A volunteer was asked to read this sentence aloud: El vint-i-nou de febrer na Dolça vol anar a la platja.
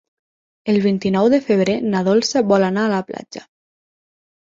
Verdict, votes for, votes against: accepted, 9, 0